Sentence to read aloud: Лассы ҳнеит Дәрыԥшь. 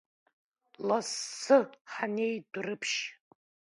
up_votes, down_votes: 1, 2